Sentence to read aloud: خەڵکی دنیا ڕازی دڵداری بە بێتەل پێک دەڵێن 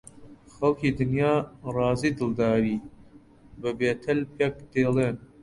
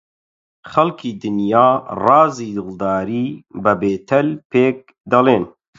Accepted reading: second